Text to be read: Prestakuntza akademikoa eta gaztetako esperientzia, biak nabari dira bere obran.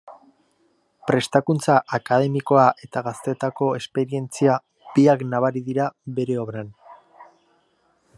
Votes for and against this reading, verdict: 2, 0, accepted